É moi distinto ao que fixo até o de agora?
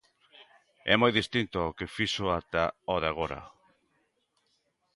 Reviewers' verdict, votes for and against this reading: rejected, 0, 2